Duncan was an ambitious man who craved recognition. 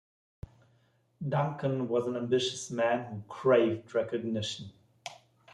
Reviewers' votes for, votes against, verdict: 2, 0, accepted